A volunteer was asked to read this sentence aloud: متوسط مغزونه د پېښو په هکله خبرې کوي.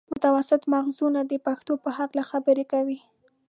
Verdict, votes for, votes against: rejected, 1, 2